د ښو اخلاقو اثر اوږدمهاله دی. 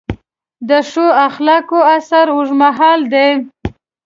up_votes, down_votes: 0, 2